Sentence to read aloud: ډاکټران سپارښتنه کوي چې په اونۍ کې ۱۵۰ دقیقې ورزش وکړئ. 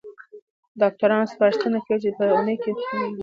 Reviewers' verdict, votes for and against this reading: rejected, 0, 2